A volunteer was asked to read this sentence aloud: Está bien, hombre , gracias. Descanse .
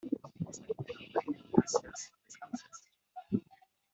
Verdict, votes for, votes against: rejected, 1, 2